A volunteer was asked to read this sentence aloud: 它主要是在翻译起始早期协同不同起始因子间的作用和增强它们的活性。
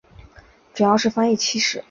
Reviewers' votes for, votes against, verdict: 0, 2, rejected